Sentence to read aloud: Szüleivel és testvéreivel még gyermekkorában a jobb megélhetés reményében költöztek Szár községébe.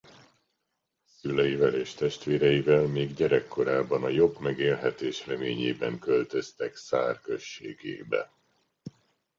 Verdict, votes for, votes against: rejected, 1, 2